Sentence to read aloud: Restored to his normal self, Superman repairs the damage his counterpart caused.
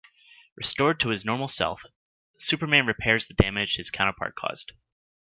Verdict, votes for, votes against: accepted, 2, 0